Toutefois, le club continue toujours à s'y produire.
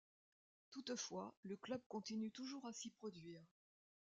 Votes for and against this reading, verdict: 2, 0, accepted